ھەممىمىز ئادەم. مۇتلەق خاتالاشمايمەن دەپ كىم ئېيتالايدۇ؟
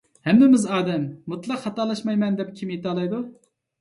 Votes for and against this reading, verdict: 2, 0, accepted